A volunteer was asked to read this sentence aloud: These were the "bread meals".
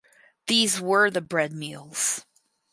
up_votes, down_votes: 4, 0